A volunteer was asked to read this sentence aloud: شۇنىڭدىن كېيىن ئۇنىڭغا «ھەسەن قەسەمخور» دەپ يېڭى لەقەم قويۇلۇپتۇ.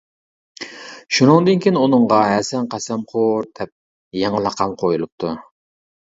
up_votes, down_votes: 2, 0